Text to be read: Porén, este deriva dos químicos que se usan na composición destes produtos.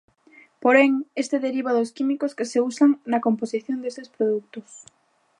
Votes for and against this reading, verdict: 1, 2, rejected